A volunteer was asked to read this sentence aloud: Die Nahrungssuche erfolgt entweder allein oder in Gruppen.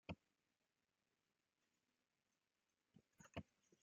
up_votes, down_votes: 0, 2